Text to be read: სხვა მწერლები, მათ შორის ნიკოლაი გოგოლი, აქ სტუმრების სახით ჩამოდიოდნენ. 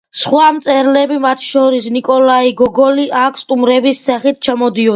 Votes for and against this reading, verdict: 2, 0, accepted